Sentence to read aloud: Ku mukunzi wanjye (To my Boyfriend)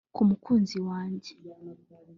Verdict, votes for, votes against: rejected, 0, 2